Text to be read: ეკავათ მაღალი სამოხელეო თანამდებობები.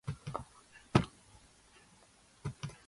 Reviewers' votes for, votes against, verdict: 0, 2, rejected